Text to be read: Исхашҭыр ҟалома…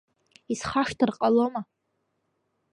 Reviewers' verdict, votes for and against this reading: accepted, 2, 0